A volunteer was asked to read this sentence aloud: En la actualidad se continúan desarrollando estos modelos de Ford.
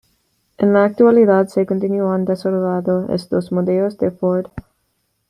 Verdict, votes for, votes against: rejected, 1, 3